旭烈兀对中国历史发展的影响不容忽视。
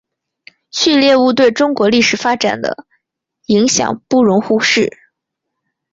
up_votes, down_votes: 3, 0